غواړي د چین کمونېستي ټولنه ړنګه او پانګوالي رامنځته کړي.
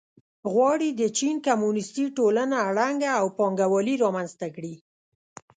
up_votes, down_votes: 2, 0